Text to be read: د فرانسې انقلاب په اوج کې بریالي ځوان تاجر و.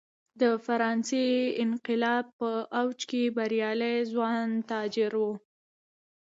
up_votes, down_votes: 2, 0